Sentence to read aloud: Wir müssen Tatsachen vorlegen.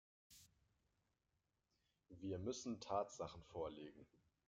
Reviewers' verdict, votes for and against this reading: rejected, 1, 2